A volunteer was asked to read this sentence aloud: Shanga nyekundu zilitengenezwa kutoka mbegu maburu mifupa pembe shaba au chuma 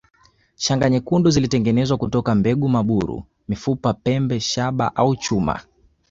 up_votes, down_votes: 2, 0